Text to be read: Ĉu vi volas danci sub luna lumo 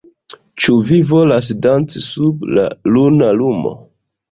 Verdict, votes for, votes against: rejected, 1, 2